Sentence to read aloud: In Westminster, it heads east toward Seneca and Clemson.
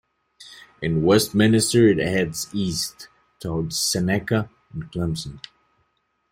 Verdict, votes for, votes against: accepted, 2, 1